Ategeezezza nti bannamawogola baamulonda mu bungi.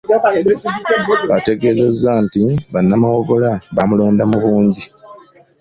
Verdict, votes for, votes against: accepted, 3, 0